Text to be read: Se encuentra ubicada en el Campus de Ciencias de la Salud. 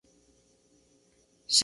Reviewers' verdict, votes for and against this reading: rejected, 0, 2